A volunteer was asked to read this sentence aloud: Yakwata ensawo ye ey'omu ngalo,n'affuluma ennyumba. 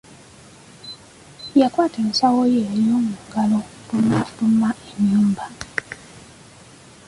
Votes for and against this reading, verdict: 2, 1, accepted